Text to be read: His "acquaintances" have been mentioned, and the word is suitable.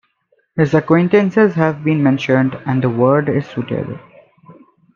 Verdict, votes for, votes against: accepted, 2, 1